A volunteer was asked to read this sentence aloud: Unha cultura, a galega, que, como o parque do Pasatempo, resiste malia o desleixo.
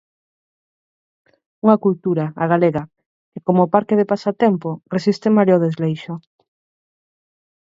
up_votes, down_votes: 2, 4